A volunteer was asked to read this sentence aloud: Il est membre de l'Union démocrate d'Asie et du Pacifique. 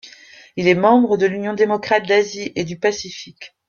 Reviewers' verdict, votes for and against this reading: accepted, 2, 0